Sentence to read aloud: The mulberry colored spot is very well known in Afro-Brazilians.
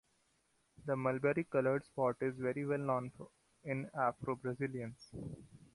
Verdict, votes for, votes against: accepted, 2, 0